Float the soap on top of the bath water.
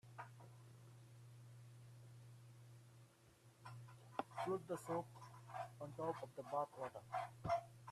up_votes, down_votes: 0, 2